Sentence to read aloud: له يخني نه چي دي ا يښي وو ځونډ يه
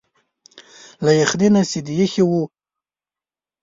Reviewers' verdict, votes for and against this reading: rejected, 0, 2